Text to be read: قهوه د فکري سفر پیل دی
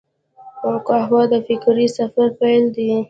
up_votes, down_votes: 2, 1